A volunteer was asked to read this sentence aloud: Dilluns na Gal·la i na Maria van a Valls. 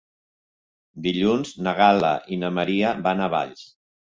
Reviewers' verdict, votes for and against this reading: accepted, 3, 0